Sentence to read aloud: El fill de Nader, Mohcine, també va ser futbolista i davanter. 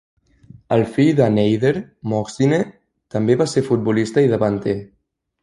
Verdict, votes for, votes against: rejected, 1, 2